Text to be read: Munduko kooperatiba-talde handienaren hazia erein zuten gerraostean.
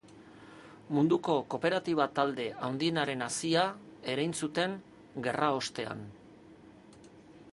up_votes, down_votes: 2, 0